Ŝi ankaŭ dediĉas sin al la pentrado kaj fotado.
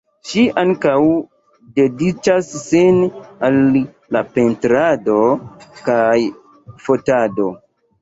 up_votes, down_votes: 1, 2